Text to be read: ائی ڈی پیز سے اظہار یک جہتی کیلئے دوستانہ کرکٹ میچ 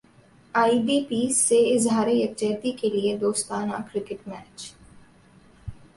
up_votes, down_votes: 4, 0